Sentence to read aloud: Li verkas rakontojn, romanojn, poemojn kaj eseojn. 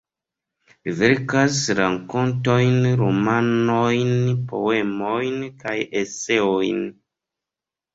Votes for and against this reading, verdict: 1, 2, rejected